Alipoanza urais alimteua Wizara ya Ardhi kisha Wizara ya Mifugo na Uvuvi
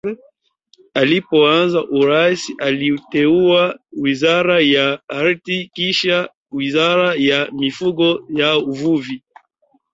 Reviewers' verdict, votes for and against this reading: rejected, 1, 2